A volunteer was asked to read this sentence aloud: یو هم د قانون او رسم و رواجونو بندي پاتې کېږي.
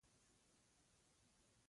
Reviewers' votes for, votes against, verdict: 0, 2, rejected